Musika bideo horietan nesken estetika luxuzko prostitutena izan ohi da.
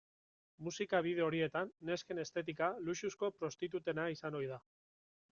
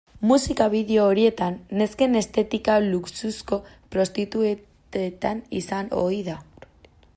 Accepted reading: first